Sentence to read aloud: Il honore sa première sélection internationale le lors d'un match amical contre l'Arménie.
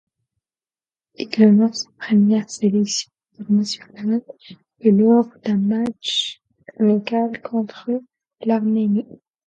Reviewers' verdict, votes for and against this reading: rejected, 2, 4